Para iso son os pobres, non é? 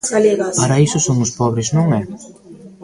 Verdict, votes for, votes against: rejected, 0, 2